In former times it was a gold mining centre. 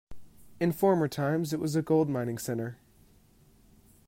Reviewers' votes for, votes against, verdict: 2, 0, accepted